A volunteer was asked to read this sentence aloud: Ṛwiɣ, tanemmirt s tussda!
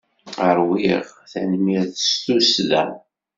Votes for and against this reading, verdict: 2, 0, accepted